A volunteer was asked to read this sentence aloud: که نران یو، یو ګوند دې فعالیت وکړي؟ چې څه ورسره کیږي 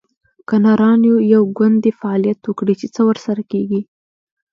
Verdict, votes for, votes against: rejected, 1, 2